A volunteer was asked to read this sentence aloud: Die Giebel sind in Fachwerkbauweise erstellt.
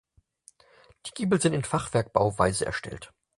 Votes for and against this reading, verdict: 4, 0, accepted